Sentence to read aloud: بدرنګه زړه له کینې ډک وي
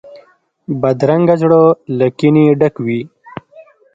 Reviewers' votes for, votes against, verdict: 2, 0, accepted